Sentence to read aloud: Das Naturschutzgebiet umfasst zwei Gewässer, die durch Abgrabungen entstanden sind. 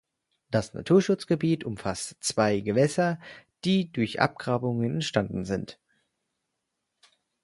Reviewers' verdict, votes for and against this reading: accepted, 4, 0